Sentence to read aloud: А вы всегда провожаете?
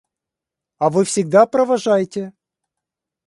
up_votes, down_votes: 2, 0